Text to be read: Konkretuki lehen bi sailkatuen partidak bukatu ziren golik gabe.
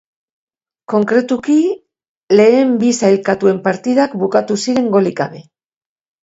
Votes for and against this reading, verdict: 4, 0, accepted